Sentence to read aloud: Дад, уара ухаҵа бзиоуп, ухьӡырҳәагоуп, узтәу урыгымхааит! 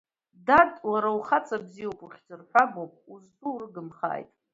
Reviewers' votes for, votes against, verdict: 1, 2, rejected